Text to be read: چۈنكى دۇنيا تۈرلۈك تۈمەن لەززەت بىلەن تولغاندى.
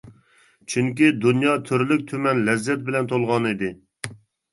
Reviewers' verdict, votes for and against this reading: rejected, 0, 2